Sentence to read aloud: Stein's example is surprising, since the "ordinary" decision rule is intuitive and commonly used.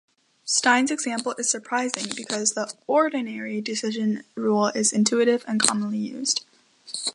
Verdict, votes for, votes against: rejected, 0, 2